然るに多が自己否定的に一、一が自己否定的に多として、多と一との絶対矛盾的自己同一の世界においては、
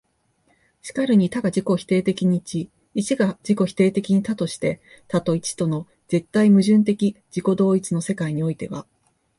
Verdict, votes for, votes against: accepted, 2, 0